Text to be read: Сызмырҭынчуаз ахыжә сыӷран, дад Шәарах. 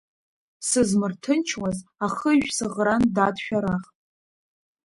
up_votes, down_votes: 0, 2